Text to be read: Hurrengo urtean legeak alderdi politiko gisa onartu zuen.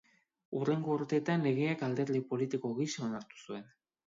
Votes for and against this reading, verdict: 1, 3, rejected